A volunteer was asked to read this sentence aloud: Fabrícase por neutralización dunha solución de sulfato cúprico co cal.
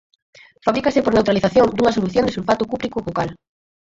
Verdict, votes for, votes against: rejected, 0, 4